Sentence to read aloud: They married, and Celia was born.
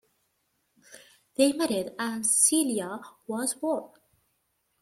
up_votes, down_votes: 2, 1